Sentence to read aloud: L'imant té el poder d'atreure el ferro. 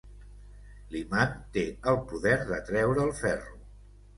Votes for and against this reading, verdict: 2, 0, accepted